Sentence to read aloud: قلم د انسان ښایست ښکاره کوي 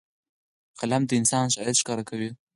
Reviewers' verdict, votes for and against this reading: accepted, 4, 0